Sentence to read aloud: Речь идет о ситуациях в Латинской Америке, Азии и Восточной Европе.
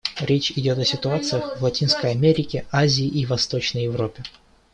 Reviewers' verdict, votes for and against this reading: accepted, 2, 0